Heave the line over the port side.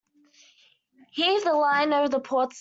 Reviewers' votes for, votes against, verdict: 0, 2, rejected